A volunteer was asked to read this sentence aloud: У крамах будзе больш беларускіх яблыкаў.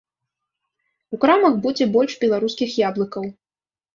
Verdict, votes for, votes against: accepted, 2, 0